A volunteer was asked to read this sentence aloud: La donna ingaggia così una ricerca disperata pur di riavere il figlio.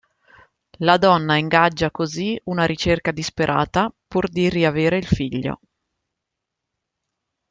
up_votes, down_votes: 2, 0